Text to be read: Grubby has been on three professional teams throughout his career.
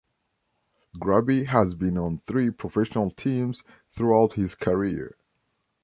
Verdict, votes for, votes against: accepted, 2, 0